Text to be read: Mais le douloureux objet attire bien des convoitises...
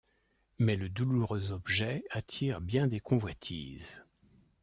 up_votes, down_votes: 2, 0